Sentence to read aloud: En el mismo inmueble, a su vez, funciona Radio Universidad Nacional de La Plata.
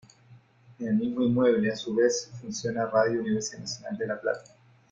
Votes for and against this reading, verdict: 2, 1, accepted